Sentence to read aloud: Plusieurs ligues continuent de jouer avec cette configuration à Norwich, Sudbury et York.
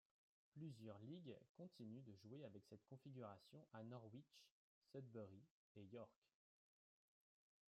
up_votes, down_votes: 0, 2